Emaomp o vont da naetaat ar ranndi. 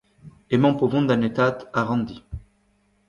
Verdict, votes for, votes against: rejected, 1, 2